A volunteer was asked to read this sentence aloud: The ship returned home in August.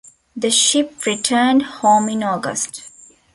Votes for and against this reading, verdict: 2, 1, accepted